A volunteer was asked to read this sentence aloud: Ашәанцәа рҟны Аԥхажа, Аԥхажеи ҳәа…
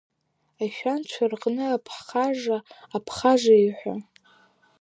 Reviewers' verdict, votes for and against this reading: rejected, 0, 3